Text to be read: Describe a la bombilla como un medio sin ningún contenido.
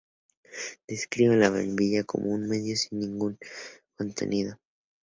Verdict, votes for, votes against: accepted, 2, 0